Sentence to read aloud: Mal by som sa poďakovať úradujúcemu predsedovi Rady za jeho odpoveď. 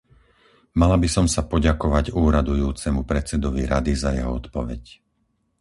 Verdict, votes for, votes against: rejected, 2, 4